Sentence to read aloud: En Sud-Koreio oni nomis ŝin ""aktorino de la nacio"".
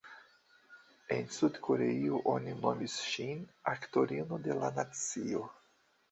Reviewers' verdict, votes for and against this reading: rejected, 0, 2